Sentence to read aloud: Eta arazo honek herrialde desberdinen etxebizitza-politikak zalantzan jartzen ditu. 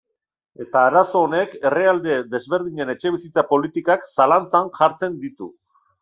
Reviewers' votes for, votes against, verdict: 1, 2, rejected